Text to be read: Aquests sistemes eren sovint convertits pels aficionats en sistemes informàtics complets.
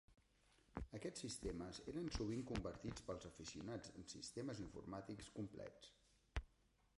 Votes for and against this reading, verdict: 2, 3, rejected